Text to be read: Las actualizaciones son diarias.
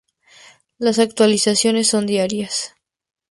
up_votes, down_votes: 4, 0